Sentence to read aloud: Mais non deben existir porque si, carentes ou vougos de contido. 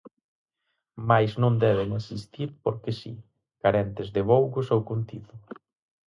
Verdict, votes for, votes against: rejected, 0, 4